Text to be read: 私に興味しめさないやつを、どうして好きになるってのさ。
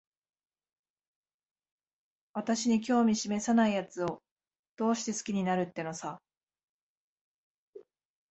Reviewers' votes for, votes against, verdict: 2, 0, accepted